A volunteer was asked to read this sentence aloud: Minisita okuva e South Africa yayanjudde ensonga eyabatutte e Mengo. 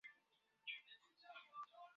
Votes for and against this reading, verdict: 0, 2, rejected